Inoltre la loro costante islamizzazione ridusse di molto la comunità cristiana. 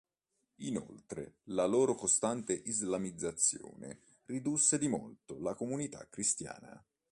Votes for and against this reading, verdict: 3, 0, accepted